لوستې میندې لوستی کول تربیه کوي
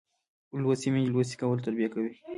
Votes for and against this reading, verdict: 0, 2, rejected